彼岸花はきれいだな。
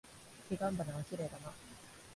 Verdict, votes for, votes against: accepted, 2, 1